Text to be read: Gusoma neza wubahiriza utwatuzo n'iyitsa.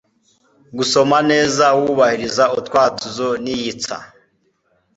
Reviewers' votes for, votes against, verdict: 2, 0, accepted